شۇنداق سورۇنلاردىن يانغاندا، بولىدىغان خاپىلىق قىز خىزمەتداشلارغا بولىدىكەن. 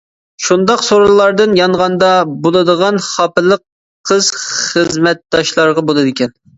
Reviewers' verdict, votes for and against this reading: accepted, 2, 0